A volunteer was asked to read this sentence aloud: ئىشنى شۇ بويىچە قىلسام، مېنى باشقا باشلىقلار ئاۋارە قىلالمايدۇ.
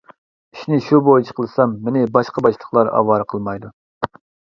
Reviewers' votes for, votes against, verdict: 1, 2, rejected